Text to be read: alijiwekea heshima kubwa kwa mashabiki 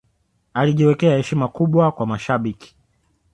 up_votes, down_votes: 3, 0